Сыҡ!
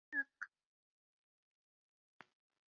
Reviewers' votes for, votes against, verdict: 1, 2, rejected